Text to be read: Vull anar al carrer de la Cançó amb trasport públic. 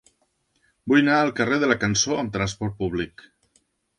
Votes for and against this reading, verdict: 1, 2, rejected